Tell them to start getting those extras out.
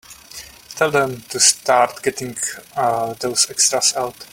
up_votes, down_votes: 1, 2